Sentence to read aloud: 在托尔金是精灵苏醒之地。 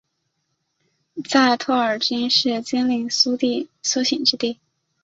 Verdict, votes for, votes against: rejected, 0, 2